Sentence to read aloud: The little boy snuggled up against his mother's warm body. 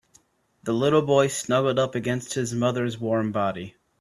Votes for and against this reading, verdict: 2, 0, accepted